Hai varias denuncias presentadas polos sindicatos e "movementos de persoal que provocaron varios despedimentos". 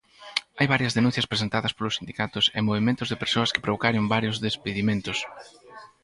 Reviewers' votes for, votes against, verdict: 0, 4, rejected